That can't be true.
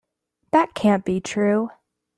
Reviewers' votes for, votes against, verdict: 2, 0, accepted